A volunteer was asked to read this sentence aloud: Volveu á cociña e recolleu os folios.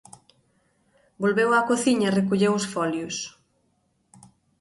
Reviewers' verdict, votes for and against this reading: accepted, 2, 0